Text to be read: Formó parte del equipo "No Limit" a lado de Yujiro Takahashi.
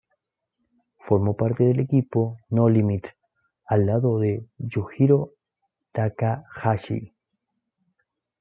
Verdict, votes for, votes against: accepted, 2, 0